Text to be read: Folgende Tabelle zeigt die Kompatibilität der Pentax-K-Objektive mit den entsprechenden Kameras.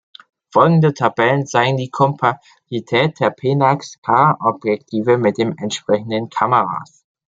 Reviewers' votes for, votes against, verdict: 0, 2, rejected